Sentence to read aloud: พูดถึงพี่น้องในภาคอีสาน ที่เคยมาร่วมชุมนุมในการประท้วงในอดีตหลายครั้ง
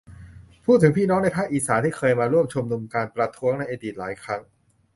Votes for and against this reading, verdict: 1, 2, rejected